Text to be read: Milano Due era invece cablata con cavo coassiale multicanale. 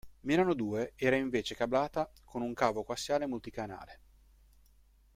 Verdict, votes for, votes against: accepted, 2, 1